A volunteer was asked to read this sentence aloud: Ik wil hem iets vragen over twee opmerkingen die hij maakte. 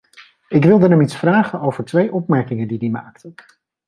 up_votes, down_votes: 0, 2